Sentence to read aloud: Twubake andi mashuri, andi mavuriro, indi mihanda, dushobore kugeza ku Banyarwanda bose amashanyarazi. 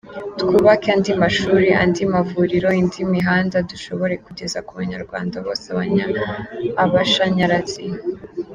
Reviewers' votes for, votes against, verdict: 1, 2, rejected